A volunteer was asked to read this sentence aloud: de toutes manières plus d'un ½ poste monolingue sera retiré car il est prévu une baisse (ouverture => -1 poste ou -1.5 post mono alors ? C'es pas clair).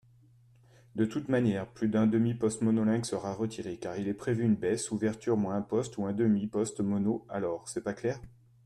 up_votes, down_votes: 0, 2